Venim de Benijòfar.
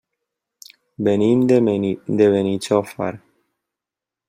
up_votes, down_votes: 0, 2